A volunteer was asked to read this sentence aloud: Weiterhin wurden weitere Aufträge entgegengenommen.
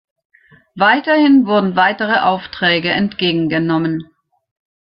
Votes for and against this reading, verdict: 3, 0, accepted